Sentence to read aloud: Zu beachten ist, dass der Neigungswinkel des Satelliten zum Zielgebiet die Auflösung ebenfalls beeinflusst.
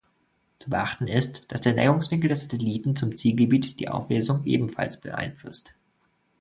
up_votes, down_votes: 0, 2